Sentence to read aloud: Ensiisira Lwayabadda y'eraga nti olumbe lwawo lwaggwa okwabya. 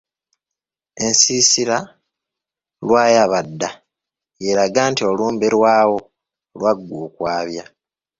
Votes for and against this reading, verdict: 2, 0, accepted